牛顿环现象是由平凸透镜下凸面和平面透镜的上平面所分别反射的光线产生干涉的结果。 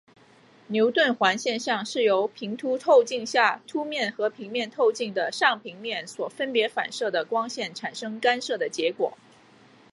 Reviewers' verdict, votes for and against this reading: accepted, 2, 0